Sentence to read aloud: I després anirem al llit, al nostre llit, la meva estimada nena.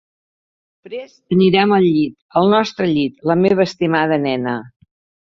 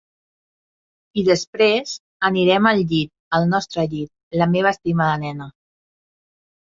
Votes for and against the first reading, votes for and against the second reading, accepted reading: 0, 2, 3, 0, second